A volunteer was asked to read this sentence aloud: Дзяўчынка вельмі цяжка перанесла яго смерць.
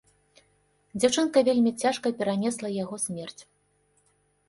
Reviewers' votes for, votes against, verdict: 2, 0, accepted